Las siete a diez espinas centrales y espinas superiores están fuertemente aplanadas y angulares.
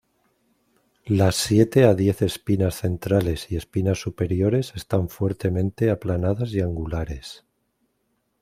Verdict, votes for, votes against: accepted, 2, 0